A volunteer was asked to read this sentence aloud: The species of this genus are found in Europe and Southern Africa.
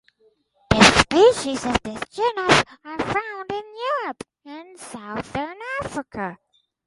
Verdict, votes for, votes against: accepted, 2, 0